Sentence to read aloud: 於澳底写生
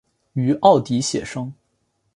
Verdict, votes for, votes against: accepted, 3, 0